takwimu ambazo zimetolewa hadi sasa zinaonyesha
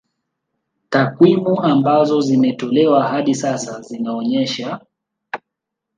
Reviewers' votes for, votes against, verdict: 1, 2, rejected